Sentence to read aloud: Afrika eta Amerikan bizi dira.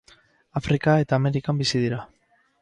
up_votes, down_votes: 4, 0